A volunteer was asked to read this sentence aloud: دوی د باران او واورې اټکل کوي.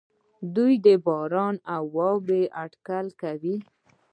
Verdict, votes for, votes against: accepted, 2, 1